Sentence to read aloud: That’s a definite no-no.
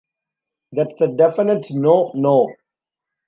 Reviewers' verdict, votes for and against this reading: accepted, 2, 1